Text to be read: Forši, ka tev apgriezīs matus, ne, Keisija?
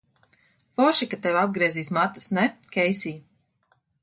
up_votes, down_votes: 2, 1